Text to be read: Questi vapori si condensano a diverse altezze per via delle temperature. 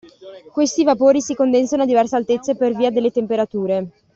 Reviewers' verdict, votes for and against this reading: accepted, 2, 0